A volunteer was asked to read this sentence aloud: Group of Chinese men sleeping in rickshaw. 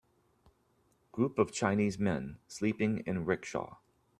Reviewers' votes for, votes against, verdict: 3, 0, accepted